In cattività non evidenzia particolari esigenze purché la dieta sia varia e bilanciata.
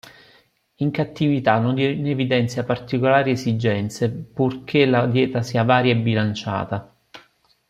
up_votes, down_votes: 1, 2